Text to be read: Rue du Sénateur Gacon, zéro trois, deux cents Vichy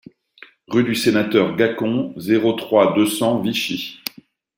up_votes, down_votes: 2, 0